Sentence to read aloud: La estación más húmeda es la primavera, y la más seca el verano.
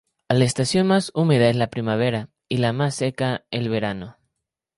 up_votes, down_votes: 0, 2